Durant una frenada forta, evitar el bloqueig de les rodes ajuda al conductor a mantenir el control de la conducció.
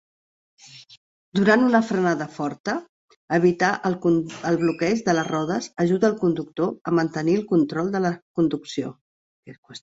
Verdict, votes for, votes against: rejected, 0, 2